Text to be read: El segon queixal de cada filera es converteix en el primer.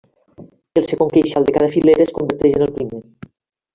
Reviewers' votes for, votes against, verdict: 1, 2, rejected